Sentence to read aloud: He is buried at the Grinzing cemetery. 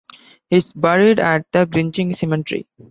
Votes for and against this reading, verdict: 1, 2, rejected